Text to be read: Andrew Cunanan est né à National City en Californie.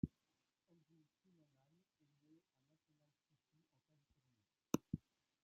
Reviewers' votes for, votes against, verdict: 1, 2, rejected